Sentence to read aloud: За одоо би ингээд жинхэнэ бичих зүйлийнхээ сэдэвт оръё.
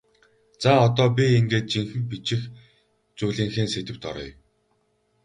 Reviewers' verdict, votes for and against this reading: accepted, 4, 0